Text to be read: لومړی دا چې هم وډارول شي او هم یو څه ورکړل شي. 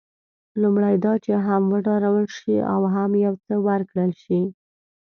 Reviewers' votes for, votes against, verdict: 2, 0, accepted